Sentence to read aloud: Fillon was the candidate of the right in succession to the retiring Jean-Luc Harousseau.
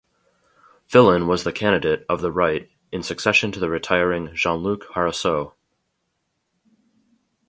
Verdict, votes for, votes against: accepted, 2, 0